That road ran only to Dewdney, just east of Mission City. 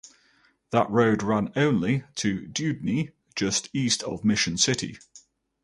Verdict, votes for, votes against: rejected, 0, 2